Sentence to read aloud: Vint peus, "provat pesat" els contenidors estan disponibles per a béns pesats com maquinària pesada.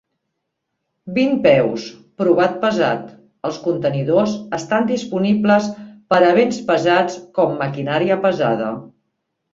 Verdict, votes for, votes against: accepted, 3, 0